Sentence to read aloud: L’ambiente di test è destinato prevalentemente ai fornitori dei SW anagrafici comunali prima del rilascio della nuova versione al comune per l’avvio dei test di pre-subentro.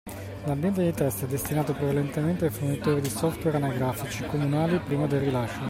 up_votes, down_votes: 0, 2